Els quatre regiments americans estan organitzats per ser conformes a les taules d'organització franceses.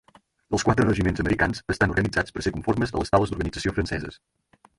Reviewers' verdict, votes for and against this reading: rejected, 0, 4